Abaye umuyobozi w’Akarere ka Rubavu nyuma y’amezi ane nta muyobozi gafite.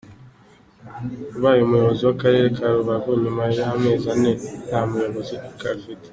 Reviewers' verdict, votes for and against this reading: accepted, 3, 1